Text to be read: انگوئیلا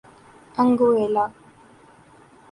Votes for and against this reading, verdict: 3, 0, accepted